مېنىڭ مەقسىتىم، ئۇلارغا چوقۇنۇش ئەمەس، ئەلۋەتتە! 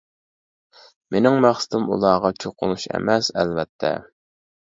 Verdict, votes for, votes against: accepted, 2, 0